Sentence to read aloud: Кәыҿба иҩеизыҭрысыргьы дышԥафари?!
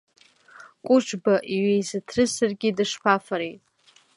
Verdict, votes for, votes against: accepted, 2, 0